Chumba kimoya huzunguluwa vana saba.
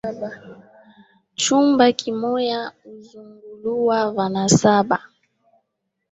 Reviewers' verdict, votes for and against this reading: accepted, 3, 1